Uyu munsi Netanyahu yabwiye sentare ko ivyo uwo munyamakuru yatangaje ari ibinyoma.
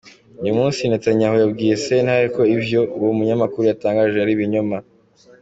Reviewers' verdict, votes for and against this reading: accepted, 2, 1